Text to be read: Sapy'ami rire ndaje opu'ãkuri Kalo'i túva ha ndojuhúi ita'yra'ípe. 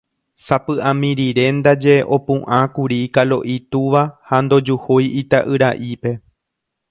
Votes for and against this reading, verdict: 2, 0, accepted